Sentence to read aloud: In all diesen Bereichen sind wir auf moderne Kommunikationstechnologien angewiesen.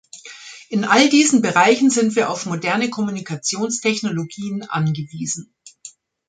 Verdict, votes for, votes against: accepted, 3, 0